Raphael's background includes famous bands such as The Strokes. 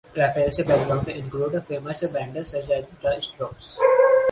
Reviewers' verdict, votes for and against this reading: rejected, 0, 2